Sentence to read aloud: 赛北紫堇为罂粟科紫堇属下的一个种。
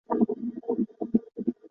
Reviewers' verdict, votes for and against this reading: rejected, 1, 3